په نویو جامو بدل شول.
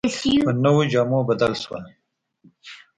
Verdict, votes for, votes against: accepted, 2, 1